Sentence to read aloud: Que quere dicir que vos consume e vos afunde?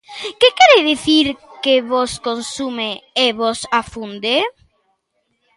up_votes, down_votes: 2, 0